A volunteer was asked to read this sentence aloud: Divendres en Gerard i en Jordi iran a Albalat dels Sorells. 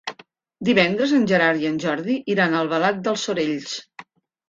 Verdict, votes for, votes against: accepted, 3, 0